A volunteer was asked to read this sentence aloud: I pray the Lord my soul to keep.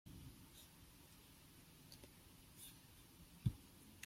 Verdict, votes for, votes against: rejected, 0, 2